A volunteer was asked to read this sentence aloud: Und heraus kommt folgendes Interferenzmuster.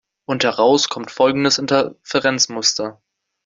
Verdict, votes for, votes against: accepted, 2, 0